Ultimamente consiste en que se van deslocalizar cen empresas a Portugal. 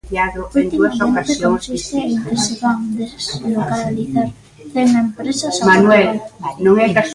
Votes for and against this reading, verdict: 0, 2, rejected